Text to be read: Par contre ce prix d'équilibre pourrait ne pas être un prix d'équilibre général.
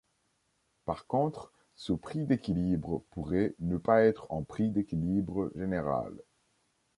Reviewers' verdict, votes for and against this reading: accepted, 2, 0